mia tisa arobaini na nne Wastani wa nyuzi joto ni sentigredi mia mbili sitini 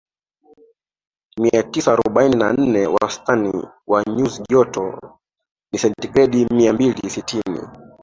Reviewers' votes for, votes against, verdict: 2, 1, accepted